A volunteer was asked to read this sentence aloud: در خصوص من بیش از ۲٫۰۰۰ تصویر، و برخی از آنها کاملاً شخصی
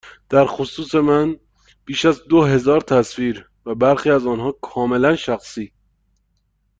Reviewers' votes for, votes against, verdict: 0, 2, rejected